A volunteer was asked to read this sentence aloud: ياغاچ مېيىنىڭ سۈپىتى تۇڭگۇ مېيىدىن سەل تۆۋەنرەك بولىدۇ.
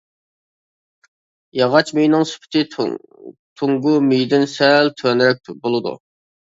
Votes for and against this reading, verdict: 0, 2, rejected